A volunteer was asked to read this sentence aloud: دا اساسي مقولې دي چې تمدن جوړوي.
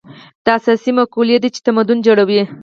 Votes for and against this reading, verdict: 4, 0, accepted